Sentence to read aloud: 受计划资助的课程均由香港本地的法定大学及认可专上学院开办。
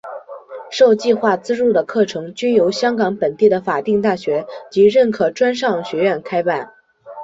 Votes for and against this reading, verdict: 4, 0, accepted